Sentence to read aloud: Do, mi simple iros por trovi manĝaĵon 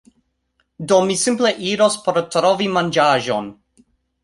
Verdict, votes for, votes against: accepted, 3, 0